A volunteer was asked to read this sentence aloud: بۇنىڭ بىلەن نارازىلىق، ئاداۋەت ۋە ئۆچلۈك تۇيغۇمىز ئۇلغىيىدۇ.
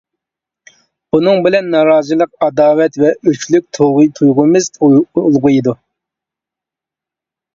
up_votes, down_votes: 0, 2